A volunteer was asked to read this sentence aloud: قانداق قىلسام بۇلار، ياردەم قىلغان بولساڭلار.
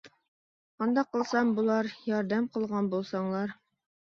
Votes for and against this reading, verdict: 2, 1, accepted